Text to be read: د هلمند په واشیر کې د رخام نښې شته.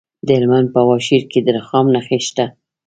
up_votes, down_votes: 2, 0